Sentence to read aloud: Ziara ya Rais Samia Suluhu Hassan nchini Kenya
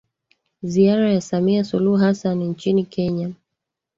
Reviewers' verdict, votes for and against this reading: rejected, 1, 2